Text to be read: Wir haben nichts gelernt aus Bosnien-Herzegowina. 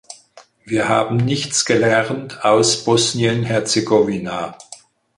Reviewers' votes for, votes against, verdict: 4, 0, accepted